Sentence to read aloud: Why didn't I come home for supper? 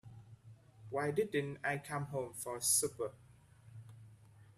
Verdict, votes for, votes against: rejected, 0, 3